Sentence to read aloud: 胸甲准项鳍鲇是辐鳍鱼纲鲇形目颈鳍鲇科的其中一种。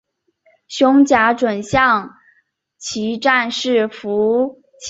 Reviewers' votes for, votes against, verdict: 0, 2, rejected